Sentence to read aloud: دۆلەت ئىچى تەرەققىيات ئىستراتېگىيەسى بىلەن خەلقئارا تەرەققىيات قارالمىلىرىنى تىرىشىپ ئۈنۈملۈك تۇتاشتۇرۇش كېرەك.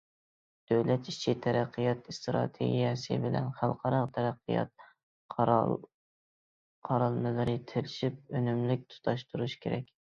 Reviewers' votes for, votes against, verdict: 0, 2, rejected